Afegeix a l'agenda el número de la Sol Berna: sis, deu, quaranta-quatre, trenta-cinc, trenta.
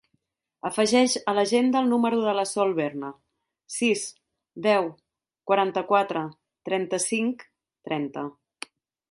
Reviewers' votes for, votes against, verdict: 3, 0, accepted